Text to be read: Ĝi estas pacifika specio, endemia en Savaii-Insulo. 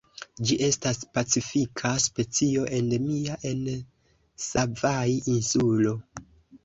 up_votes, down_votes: 0, 2